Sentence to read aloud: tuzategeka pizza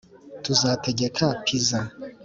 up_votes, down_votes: 4, 0